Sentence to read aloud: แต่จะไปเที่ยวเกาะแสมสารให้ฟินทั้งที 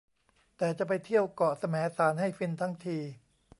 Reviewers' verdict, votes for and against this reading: rejected, 0, 2